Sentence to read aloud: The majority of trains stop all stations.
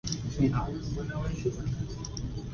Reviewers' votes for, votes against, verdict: 0, 2, rejected